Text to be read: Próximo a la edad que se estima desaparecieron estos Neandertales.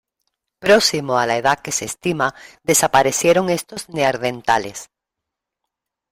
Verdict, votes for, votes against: rejected, 0, 2